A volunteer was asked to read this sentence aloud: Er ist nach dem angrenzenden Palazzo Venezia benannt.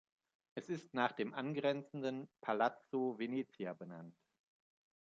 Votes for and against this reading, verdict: 0, 2, rejected